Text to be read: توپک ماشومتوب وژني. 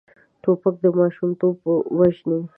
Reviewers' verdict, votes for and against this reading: rejected, 1, 2